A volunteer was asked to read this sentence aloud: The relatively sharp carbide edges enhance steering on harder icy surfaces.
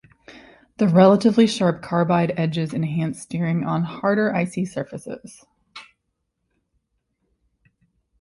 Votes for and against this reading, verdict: 2, 0, accepted